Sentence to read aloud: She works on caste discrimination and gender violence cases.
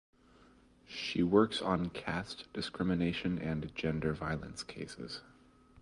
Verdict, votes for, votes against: accepted, 2, 0